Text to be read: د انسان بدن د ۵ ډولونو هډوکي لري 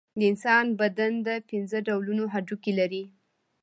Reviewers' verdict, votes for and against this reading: rejected, 0, 2